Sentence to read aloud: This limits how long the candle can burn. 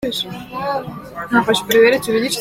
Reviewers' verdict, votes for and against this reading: rejected, 0, 2